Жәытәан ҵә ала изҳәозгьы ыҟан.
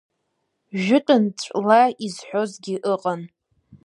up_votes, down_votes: 0, 2